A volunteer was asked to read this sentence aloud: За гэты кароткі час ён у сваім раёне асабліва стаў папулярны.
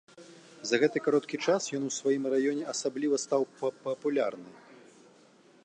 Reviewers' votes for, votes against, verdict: 0, 2, rejected